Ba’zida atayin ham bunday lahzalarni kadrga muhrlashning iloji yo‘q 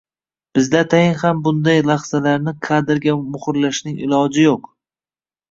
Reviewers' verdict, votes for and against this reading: rejected, 0, 2